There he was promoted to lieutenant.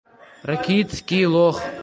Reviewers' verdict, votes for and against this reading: rejected, 0, 2